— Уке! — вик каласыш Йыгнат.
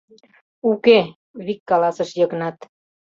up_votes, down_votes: 2, 0